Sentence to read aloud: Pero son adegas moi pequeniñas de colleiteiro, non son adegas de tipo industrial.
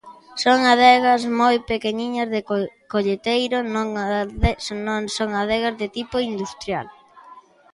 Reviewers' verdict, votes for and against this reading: rejected, 0, 2